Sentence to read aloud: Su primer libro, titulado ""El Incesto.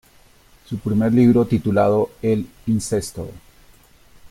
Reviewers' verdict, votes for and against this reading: accepted, 2, 0